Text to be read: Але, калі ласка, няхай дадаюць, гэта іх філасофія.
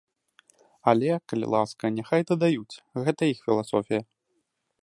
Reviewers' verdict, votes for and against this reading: accepted, 2, 0